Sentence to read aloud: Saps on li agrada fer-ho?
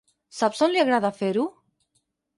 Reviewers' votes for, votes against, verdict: 8, 0, accepted